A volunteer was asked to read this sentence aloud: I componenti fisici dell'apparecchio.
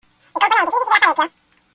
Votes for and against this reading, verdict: 0, 2, rejected